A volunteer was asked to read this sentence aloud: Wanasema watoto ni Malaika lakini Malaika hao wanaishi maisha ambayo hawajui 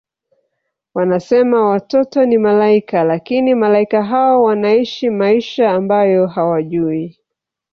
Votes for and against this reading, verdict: 0, 2, rejected